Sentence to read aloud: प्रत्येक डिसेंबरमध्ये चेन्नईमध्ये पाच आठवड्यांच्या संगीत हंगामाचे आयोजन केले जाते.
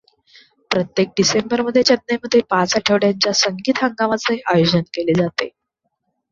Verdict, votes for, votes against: accepted, 2, 0